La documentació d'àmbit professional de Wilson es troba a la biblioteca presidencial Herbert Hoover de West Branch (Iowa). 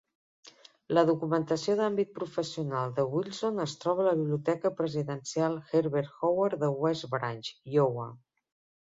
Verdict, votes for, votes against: accepted, 2, 1